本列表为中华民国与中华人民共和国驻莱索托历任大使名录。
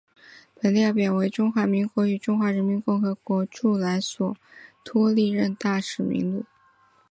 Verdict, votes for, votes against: accepted, 2, 1